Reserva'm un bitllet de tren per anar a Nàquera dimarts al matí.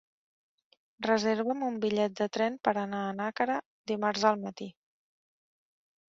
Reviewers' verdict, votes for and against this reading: accepted, 4, 0